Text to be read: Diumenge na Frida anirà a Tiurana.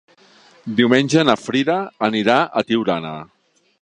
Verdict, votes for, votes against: accepted, 3, 0